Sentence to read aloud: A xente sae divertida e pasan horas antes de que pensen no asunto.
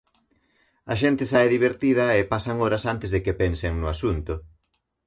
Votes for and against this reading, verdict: 2, 0, accepted